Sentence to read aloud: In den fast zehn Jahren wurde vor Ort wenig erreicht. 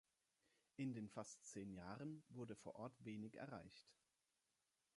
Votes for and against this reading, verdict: 2, 0, accepted